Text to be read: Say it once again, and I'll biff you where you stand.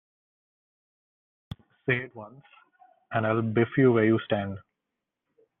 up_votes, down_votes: 0, 2